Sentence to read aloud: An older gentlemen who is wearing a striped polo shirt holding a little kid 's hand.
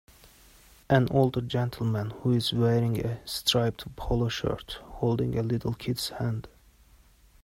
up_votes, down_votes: 2, 0